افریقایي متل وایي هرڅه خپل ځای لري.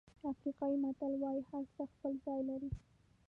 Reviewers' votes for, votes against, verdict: 0, 2, rejected